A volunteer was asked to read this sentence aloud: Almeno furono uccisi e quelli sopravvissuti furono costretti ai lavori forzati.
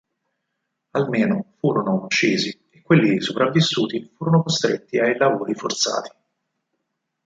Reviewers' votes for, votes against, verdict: 4, 0, accepted